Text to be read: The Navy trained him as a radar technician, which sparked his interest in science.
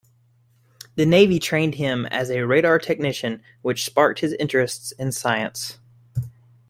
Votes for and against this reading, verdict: 2, 1, accepted